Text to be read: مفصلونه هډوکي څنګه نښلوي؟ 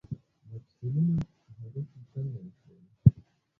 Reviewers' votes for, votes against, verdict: 2, 0, accepted